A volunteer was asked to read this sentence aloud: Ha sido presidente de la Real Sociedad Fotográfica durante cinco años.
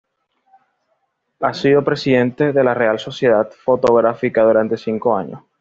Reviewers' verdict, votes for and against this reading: accepted, 2, 0